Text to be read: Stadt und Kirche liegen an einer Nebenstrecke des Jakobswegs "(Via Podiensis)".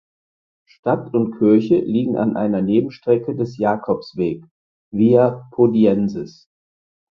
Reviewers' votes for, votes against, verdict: 4, 2, accepted